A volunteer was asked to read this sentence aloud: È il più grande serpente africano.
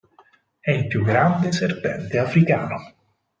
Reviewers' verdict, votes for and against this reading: accepted, 4, 0